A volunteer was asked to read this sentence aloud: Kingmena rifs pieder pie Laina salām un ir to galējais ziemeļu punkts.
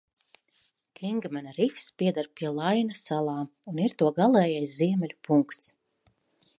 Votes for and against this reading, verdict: 2, 0, accepted